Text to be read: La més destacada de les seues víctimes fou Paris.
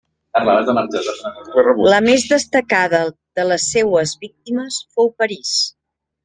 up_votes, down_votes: 1, 2